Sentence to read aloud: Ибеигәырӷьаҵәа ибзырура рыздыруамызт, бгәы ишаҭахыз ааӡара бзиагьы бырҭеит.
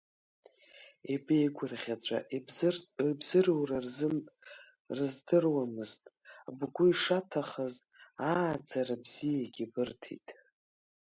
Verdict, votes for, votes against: rejected, 3, 4